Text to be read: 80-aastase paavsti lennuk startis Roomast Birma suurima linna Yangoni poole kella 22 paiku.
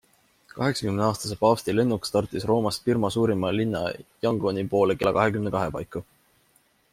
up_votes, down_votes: 0, 2